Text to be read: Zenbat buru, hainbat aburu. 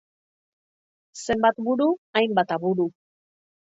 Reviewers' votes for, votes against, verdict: 3, 0, accepted